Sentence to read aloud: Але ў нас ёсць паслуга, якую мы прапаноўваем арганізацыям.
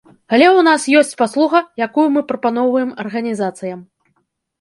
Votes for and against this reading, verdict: 2, 0, accepted